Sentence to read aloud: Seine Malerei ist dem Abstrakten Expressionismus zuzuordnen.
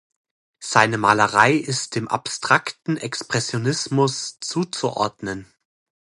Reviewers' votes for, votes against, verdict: 2, 0, accepted